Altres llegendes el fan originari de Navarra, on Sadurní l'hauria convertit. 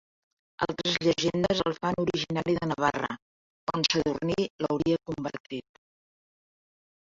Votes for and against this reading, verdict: 0, 2, rejected